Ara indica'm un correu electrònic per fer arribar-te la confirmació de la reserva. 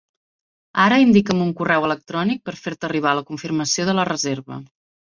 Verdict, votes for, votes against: rejected, 0, 2